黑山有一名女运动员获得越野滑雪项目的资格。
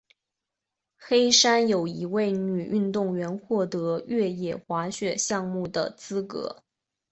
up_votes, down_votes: 2, 1